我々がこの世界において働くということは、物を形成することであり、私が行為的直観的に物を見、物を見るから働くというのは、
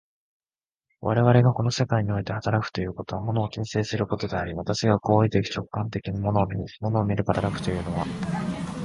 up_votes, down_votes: 2, 3